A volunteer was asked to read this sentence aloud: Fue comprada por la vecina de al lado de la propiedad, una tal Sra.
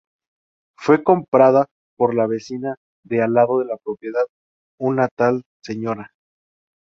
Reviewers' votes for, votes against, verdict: 2, 0, accepted